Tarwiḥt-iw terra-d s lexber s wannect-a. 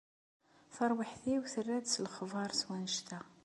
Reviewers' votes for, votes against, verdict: 2, 0, accepted